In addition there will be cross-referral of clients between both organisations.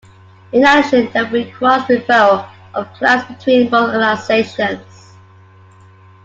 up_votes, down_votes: 2, 1